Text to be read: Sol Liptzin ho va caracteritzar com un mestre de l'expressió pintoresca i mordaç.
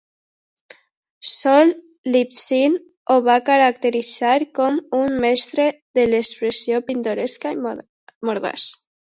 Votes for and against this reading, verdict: 0, 2, rejected